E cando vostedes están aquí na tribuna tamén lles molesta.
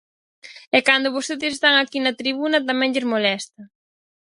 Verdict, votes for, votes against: accepted, 4, 0